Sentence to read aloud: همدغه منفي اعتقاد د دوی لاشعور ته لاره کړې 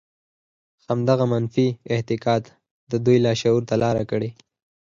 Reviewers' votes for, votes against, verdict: 4, 0, accepted